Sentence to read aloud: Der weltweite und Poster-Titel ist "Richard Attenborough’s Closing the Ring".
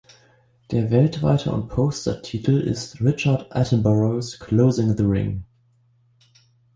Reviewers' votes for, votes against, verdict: 2, 0, accepted